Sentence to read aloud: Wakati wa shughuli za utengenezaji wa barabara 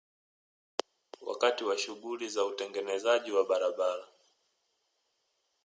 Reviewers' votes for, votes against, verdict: 4, 0, accepted